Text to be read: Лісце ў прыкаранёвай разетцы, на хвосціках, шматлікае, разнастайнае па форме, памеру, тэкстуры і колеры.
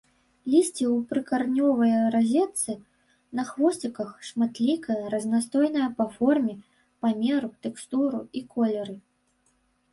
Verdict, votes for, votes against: rejected, 2, 3